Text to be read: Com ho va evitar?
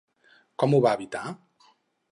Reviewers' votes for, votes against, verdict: 4, 0, accepted